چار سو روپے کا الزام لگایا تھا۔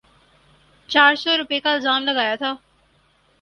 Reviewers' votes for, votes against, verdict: 2, 0, accepted